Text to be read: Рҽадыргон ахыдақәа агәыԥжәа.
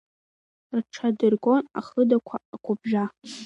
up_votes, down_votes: 0, 2